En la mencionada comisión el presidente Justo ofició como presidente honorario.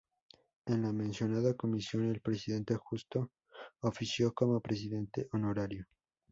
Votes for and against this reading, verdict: 2, 0, accepted